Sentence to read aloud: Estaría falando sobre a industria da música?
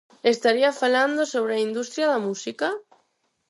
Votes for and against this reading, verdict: 4, 0, accepted